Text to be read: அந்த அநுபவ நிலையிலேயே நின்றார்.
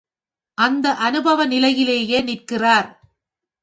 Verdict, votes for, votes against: rejected, 2, 3